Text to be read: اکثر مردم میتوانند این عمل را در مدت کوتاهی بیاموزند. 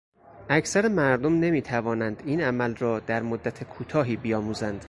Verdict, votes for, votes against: rejected, 0, 6